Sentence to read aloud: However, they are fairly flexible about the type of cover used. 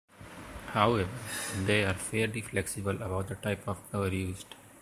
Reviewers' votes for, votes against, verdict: 2, 0, accepted